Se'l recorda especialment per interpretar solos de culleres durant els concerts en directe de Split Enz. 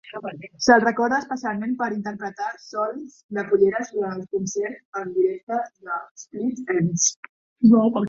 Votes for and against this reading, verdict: 0, 2, rejected